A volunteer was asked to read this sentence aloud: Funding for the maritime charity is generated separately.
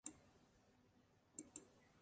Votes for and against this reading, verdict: 0, 2, rejected